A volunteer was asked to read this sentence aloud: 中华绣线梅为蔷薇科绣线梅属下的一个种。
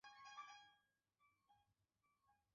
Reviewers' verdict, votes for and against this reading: rejected, 2, 6